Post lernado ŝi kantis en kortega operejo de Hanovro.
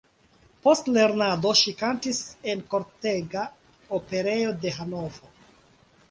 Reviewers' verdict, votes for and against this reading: accepted, 2, 0